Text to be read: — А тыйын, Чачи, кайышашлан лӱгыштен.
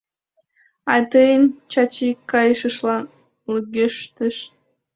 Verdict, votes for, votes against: rejected, 1, 2